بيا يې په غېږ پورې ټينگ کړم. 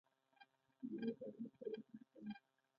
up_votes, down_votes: 0, 2